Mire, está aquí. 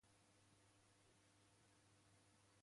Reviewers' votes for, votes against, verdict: 0, 2, rejected